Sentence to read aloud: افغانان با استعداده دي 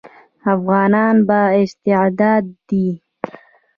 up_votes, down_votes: 1, 2